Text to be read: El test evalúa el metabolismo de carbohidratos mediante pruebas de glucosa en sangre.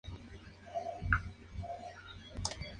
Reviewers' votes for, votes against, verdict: 0, 2, rejected